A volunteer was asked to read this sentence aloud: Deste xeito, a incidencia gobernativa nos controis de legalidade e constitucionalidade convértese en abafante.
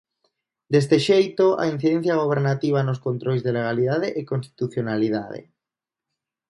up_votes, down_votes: 0, 2